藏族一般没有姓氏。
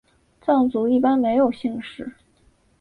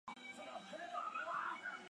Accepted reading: first